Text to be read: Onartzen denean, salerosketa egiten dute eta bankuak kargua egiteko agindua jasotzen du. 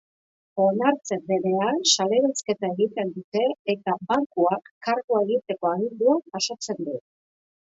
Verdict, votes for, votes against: accepted, 2, 1